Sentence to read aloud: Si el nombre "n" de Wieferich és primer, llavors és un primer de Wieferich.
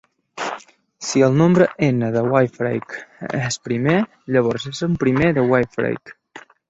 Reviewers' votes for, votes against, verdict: 1, 2, rejected